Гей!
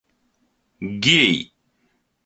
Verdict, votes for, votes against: accepted, 2, 0